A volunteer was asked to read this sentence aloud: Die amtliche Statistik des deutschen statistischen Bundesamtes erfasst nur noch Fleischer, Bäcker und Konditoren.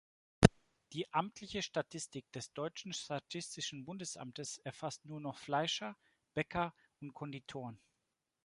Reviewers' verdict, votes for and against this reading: accepted, 2, 0